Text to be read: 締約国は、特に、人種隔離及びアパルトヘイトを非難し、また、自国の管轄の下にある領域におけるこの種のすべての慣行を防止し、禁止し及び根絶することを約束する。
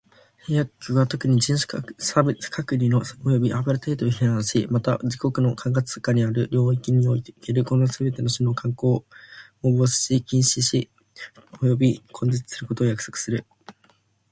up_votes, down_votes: 1, 2